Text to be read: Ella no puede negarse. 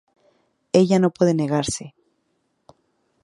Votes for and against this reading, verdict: 4, 0, accepted